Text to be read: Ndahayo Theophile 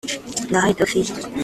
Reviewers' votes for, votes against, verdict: 1, 2, rejected